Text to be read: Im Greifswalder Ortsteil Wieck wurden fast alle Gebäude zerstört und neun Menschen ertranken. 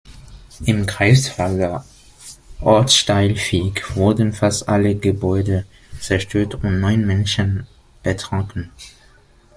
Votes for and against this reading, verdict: 0, 2, rejected